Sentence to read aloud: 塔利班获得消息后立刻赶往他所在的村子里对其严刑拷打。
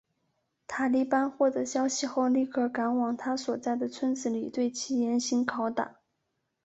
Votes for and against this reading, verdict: 3, 1, accepted